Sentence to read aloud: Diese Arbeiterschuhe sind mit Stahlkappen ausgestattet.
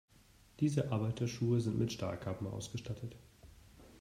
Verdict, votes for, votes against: accepted, 2, 0